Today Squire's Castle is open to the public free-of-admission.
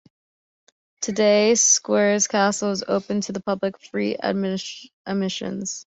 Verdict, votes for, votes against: rejected, 0, 2